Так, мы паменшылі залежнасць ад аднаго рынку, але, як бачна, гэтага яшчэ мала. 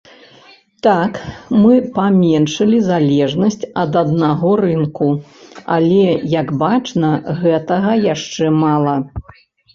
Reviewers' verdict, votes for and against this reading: accepted, 2, 0